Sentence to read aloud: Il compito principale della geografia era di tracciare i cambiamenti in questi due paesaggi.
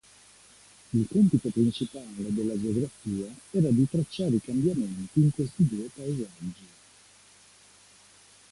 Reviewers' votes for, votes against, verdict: 2, 0, accepted